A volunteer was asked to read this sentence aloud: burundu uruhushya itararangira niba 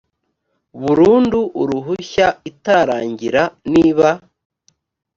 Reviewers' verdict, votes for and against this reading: rejected, 1, 2